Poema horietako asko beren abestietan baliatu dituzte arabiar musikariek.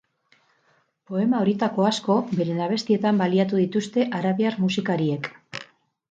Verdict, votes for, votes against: accepted, 6, 0